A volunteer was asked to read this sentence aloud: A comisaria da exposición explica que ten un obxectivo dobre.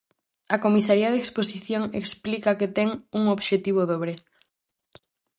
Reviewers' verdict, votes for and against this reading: rejected, 0, 4